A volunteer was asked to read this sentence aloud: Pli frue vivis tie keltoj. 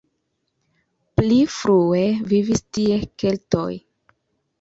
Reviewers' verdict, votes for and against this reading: rejected, 1, 2